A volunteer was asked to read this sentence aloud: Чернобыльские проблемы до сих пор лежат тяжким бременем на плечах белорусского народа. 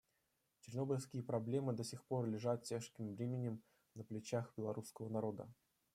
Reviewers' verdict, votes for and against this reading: rejected, 1, 2